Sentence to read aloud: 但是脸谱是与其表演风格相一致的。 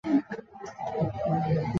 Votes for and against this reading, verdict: 1, 2, rejected